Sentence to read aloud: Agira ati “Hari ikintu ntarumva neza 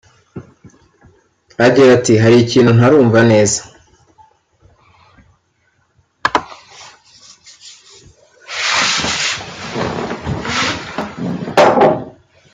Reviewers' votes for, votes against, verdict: 2, 0, accepted